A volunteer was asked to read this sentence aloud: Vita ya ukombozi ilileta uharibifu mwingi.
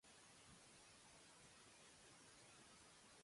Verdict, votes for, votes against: rejected, 0, 2